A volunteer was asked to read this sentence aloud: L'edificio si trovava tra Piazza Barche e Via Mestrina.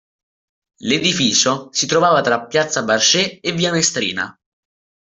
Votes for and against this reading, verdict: 0, 2, rejected